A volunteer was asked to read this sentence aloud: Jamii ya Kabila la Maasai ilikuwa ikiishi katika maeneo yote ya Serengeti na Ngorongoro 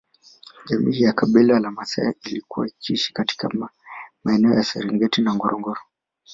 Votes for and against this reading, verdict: 2, 3, rejected